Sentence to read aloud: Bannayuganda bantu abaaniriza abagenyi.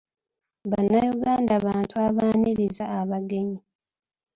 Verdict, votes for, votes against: rejected, 1, 2